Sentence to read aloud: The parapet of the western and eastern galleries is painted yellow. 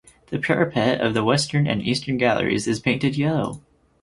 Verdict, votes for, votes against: accepted, 4, 0